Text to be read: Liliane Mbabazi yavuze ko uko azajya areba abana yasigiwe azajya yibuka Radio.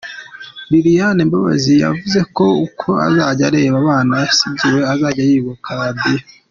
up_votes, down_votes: 2, 0